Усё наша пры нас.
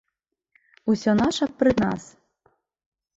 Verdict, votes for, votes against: accepted, 2, 0